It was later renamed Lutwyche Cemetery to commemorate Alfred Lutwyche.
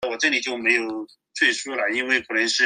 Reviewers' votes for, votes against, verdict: 0, 2, rejected